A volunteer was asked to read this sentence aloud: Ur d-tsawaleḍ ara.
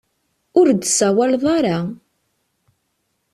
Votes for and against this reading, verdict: 2, 0, accepted